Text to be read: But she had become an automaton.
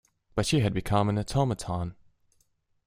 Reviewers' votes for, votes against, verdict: 2, 0, accepted